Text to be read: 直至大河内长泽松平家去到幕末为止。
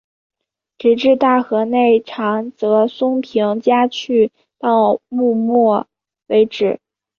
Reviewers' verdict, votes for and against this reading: accepted, 2, 0